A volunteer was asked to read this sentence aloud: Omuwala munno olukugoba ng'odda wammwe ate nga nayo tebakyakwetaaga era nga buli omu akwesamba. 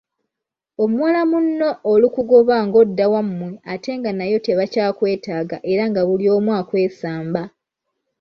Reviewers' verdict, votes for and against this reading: accepted, 2, 0